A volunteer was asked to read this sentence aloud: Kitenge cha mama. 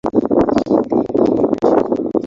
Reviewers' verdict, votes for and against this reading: rejected, 0, 2